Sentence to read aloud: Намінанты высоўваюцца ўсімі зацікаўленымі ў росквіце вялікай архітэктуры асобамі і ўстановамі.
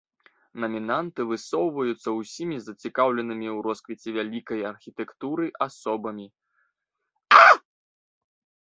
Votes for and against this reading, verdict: 0, 2, rejected